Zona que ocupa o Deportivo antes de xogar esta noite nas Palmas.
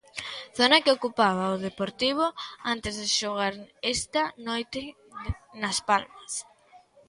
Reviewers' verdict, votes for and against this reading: rejected, 1, 2